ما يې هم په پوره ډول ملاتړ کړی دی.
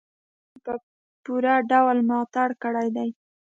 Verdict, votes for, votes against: rejected, 1, 2